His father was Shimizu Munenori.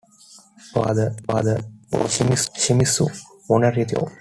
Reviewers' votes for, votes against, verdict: 0, 2, rejected